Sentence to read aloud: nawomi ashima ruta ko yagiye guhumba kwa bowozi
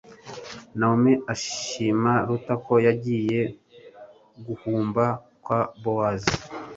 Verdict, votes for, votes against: accepted, 2, 0